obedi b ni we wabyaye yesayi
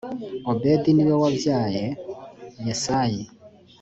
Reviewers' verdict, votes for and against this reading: accepted, 2, 0